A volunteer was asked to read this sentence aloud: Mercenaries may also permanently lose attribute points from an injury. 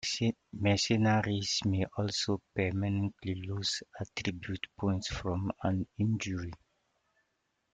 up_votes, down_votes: 0, 2